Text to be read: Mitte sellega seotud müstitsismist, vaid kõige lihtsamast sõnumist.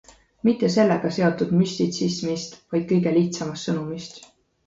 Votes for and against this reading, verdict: 2, 0, accepted